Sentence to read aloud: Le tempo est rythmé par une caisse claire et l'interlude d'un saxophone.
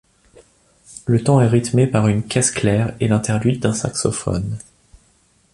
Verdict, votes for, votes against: rejected, 1, 2